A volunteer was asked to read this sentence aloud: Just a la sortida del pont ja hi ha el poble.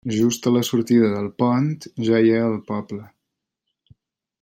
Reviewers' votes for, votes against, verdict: 3, 0, accepted